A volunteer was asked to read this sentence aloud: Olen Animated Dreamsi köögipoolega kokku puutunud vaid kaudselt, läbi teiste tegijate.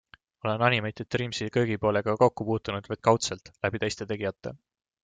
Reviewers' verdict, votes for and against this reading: accepted, 2, 0